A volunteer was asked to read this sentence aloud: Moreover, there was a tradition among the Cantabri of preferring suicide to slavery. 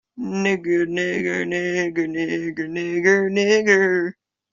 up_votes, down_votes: 0, 2